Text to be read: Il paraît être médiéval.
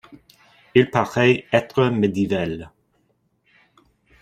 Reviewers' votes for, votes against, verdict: 0, 2, rejected